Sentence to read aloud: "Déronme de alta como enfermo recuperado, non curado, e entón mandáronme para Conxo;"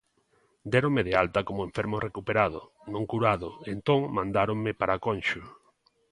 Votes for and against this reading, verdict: 2, 0, accepted